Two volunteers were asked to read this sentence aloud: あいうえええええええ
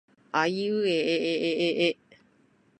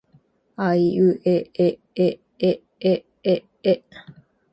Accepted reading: second